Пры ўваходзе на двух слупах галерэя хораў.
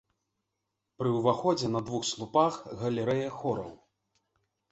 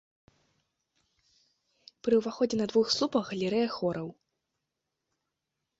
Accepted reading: first